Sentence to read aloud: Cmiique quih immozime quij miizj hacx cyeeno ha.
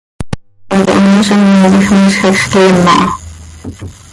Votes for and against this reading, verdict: 0, 2, rejected